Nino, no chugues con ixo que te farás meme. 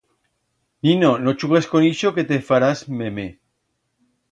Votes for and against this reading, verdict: 2, 0, accepted